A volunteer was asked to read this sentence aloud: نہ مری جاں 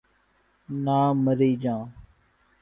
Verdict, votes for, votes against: rejected, 1, 2